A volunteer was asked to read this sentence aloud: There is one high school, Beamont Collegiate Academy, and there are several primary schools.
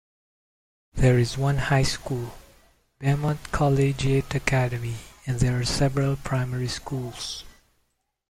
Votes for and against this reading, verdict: 0, 2, rejected